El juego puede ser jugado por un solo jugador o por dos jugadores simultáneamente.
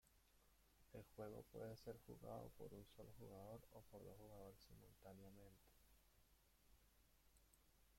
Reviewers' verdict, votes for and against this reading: rejected, 0, 2